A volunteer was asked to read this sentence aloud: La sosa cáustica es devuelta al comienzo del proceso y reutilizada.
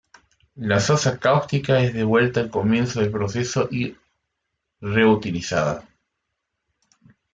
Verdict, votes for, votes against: rejected, 1, 2